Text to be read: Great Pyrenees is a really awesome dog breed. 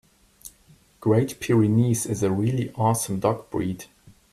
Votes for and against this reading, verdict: 2, 0, accepted